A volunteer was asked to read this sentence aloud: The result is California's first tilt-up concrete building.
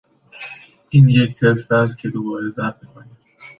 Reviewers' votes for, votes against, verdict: 0, 2, rejected